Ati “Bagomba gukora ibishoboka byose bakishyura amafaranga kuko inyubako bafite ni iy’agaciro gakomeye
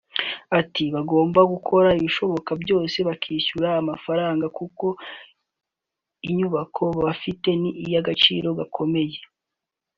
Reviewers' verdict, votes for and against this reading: accepted, 2, 0